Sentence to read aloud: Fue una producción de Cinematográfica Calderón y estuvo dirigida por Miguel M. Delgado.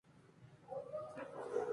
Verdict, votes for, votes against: rejected, 0, 2